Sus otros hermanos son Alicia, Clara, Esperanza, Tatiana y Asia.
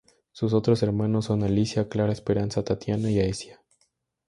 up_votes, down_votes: 0, 2